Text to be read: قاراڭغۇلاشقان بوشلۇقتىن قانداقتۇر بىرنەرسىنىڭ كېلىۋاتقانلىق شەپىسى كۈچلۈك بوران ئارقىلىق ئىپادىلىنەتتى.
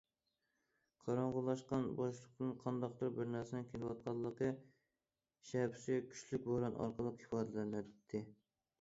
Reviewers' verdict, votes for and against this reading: rejected, 0, 2